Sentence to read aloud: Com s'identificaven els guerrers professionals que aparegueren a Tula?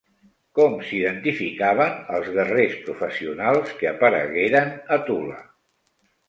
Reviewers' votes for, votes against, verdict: 0, 2, rejected